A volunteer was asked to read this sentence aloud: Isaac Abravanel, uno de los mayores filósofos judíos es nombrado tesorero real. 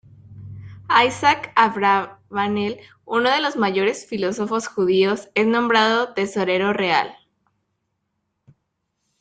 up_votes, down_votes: 1, 2